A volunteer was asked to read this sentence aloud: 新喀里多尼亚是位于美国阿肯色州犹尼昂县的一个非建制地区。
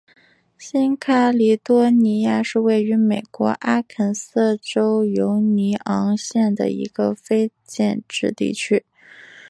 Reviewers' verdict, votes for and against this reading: accepted, 2, 1